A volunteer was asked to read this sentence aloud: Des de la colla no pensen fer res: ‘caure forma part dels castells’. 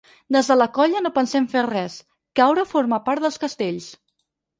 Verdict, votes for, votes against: rejected, 2, 4